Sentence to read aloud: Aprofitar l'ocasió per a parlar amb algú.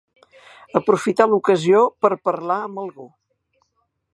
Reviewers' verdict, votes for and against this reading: accepted, 2, 0